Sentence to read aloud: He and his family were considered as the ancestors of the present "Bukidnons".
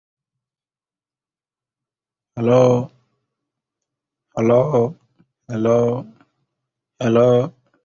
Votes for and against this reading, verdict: 0, 2, rejected